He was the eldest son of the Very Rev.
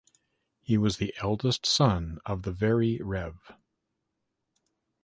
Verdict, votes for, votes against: accepted, 3, 0